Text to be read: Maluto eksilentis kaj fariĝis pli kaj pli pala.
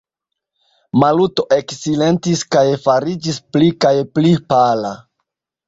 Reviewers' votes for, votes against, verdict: 0, 2, rejected